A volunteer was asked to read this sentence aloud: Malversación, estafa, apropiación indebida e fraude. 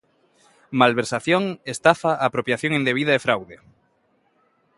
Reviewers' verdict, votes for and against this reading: accepted, 2, 0